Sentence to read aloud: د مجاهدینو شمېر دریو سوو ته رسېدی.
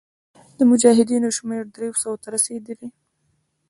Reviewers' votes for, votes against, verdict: 1, 2, rejected